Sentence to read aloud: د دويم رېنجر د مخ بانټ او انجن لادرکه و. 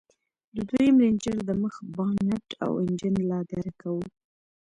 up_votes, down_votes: 0, 2